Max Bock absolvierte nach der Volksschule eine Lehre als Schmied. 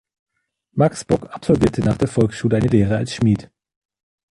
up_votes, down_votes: 2, 1